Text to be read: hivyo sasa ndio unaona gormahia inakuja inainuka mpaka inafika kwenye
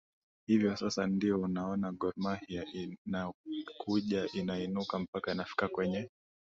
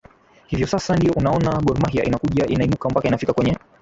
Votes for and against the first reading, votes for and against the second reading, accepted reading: 2, 0, 1, 2, first